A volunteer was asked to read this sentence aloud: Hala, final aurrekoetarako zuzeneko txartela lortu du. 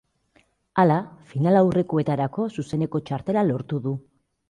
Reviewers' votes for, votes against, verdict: 2, 0, accepted